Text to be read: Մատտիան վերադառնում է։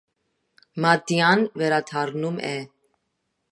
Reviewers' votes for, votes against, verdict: 2, 0, accepted